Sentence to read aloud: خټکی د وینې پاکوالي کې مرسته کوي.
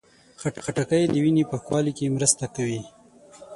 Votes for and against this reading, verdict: 3, 6, rejected